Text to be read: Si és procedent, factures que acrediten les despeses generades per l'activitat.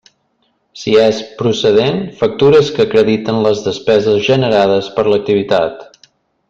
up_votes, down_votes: 3, 0